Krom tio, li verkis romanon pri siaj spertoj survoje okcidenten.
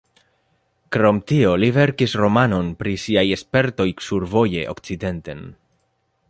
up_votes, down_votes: 2, 1